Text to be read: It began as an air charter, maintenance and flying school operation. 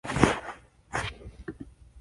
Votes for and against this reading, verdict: 0, 2, rejected